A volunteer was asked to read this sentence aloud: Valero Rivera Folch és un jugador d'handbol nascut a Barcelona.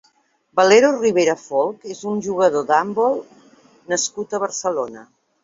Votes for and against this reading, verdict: 2, 0, accepted